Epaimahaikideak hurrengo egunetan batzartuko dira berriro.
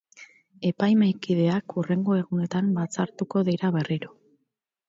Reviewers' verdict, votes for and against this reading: rejected, 0, 2